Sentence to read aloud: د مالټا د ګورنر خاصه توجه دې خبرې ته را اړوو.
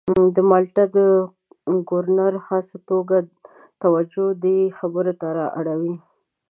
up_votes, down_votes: 1, 2